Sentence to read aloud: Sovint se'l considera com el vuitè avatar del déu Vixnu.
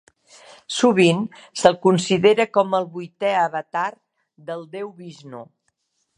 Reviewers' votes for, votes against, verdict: 2, 0, accepted